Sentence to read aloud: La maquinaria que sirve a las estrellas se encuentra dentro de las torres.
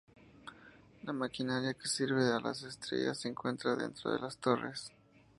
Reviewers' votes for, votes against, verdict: 2, 0, accepted